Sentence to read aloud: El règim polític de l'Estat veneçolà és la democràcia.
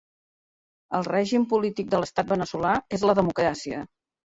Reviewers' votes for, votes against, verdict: 2, 1, accepted